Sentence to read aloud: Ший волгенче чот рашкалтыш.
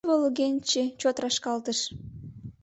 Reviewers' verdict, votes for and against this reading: rejected, 0, 2